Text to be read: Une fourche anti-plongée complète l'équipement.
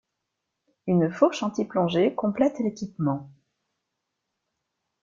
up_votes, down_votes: 2, 0